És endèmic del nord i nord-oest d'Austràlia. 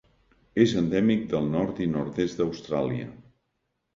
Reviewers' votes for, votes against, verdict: 0, 2, rejected